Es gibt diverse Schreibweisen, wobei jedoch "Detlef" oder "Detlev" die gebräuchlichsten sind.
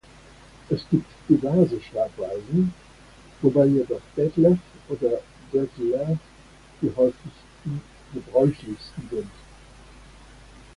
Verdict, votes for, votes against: rejected, 0, 2